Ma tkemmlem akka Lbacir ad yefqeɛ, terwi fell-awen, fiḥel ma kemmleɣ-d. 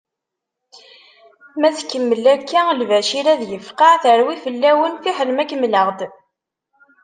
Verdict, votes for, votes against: rejected, 0, 2